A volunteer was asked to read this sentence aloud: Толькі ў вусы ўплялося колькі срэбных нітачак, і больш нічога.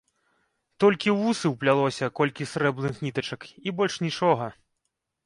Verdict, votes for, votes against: rejected, 1, 2